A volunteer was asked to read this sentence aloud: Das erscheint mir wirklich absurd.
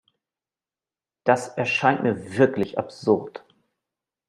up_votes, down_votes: 2, 0